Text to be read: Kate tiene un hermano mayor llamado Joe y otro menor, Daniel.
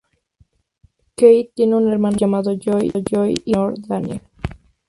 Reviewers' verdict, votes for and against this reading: rejected, 0, 4